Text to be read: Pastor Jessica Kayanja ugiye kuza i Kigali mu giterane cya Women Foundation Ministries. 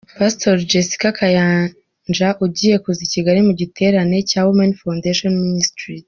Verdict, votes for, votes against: accepted, 2, 0